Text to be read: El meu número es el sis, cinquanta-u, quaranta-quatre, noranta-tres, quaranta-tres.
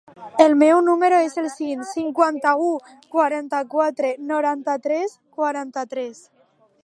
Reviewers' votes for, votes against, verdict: 2, 0, accepted